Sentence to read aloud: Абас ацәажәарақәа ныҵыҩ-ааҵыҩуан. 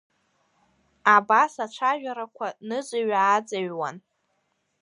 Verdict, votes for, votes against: accepted, 2, 0